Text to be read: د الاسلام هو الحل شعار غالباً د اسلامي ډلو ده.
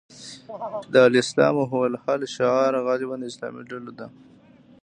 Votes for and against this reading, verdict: 1, 2, rejected